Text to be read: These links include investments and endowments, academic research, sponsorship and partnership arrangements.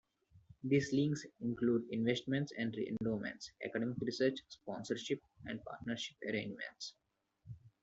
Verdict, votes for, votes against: rejected, 0, 2